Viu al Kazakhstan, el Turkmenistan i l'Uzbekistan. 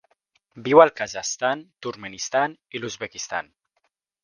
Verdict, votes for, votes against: rejected, 0, 2